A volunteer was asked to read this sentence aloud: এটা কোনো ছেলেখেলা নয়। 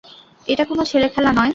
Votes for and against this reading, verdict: 2, 0, accepted